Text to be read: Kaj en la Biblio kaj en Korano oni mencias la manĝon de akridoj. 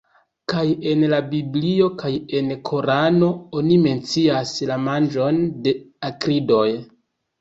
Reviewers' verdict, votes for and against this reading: rejected, 0, 2